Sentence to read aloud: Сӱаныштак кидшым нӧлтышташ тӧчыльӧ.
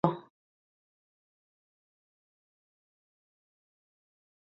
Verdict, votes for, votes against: rejected, 1, 2